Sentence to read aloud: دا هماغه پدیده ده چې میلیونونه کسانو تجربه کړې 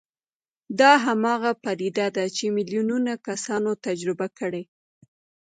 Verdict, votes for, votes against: accepted, 2, 1